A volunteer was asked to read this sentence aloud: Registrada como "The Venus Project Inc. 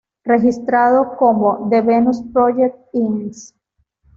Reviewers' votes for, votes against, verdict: 1, 2, rejected